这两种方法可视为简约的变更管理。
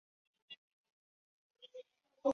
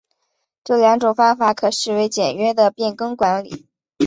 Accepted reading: second